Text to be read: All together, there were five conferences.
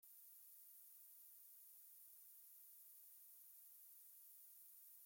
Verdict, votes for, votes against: rejected, 0, 2